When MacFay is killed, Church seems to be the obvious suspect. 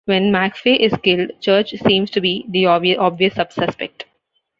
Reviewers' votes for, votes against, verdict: 0, 2, rejected